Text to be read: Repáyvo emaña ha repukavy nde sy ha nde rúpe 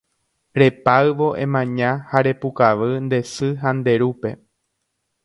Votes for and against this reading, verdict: 2, 0, accepted